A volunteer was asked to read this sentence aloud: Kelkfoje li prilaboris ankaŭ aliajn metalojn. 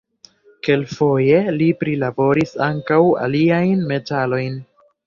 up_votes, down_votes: 1, 2